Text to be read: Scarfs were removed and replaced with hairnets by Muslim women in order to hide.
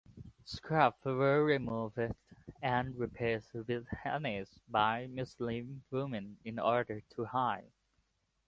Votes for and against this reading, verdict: 0, 2, rejected